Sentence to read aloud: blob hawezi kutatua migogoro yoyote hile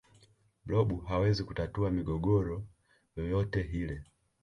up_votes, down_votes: 2, 0